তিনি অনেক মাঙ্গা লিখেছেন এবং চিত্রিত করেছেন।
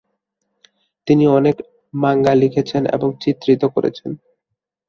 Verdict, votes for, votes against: accepted, 2, 0